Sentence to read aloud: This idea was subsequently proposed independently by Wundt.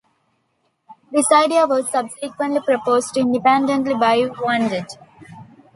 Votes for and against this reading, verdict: 0, 2, rejected